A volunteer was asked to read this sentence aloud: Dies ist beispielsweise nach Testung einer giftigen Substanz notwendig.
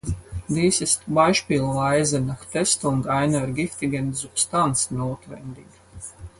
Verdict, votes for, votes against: rejected, 2, 4